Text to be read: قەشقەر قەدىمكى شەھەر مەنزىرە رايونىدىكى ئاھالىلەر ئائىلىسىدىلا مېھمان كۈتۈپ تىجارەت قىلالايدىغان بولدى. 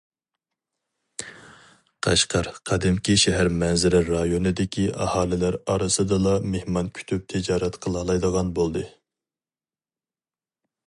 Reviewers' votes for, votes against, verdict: 0, 2, rejected